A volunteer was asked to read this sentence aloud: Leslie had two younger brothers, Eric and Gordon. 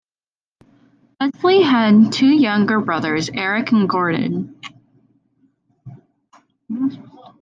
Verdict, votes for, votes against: accepted, 2, 1